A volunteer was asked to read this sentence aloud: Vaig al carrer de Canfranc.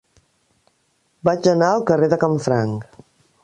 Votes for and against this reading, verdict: 1, 2, rejected